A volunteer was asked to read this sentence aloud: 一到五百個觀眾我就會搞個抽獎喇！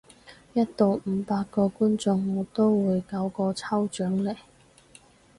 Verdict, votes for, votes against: rejected, 2, 2